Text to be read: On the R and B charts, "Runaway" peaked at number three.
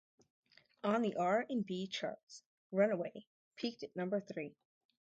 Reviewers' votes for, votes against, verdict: 0, 2, rejected